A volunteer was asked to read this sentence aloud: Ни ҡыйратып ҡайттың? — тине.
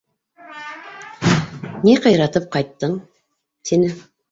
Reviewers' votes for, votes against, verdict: 2, 1, accepted